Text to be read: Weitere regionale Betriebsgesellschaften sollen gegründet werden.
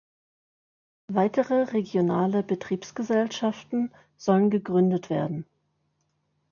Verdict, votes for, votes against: accepted, 2, 0